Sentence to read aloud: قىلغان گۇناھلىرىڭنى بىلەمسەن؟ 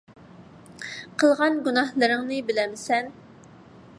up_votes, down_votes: 2, 0